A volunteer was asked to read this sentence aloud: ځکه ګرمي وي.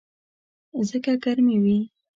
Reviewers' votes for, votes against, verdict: 2, 0, accepted